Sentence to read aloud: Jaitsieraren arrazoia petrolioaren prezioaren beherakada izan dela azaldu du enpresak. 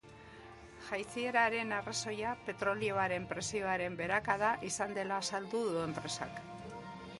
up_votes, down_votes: 1, 2